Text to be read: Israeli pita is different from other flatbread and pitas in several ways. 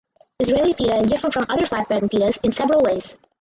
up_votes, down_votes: 0, 4